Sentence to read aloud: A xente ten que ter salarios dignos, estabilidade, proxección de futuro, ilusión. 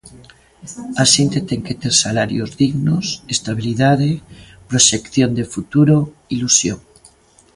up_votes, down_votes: 1, 2